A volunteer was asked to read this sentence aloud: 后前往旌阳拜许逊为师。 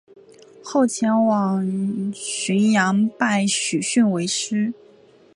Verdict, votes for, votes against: accepted, 2, 1